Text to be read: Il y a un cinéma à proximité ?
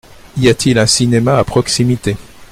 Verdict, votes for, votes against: rejected, 0, 2